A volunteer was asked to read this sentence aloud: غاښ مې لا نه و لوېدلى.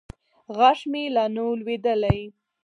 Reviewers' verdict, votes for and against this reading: accepted, 4, 0